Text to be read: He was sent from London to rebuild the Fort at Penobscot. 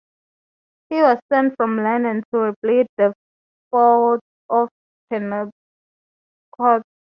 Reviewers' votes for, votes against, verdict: 2, 0, accepted